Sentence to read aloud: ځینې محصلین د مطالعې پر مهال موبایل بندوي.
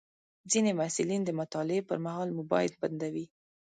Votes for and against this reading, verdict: 2, 0, accepted